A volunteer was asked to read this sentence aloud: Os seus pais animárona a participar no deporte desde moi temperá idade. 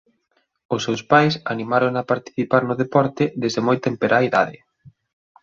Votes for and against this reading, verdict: 2, 0, accepted